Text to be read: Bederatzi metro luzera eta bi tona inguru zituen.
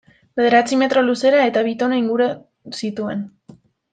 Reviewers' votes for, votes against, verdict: 0, 2, rejected